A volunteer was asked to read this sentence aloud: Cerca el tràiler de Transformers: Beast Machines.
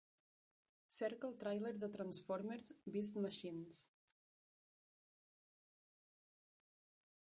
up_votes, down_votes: 2, 0